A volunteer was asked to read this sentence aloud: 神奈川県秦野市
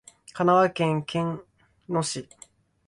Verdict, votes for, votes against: rejected, 0, 2